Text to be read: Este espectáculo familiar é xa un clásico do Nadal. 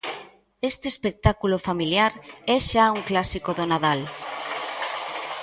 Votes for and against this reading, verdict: 1, 2, rejected